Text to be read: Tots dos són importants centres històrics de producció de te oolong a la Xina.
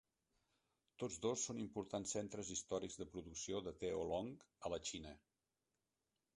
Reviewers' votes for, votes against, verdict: 1, 2, rejected